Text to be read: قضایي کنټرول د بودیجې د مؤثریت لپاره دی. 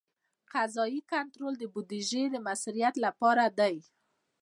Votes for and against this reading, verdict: 2, 1, accepted